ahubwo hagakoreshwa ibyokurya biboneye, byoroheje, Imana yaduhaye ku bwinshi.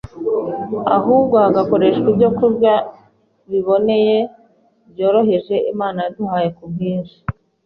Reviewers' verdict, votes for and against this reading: accepted, 2, 0